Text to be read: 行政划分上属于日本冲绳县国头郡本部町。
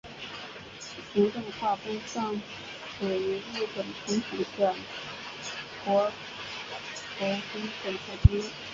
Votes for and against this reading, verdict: 0, 2, rejected